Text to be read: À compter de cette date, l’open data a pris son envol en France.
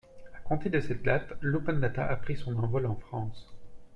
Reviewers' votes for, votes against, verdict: 2, 0, accepted